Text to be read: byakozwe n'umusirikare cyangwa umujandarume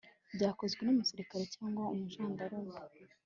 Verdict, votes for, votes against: rejected, 0, 2